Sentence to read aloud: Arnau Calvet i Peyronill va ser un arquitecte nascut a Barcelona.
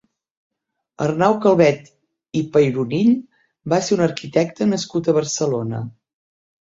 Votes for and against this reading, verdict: 3, 0, accepted